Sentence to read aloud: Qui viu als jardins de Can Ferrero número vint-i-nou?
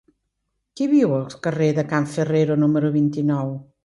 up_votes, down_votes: 1, 2